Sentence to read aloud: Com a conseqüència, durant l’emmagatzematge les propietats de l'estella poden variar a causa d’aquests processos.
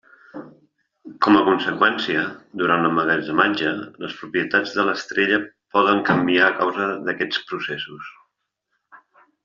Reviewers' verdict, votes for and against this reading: rejected, 0, 2